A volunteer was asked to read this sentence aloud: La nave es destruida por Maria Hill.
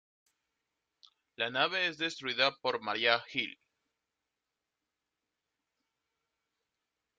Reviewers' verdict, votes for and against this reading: accepted, 2, 0